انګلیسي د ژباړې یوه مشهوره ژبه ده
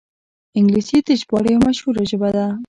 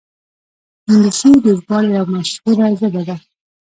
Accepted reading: first